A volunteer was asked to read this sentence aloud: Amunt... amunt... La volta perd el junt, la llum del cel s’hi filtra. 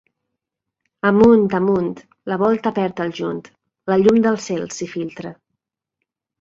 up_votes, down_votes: 2, 0